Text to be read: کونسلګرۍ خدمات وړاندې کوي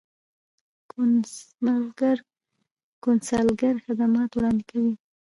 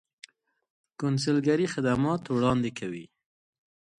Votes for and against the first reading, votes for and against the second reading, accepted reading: 0, 2, 2, 0, second